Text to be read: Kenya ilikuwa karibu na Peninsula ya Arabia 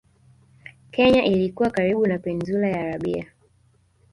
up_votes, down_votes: 1, 2